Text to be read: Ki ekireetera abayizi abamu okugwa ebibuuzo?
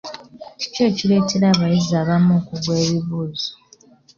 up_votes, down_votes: 0, 2